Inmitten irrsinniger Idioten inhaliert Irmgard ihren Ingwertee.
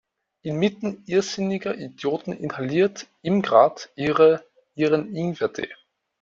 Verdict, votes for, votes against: rejected, 1, 2